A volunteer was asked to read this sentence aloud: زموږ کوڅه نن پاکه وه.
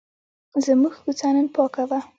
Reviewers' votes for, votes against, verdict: 1, 2, rejected